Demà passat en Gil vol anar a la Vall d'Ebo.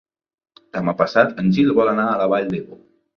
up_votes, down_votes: 2, 0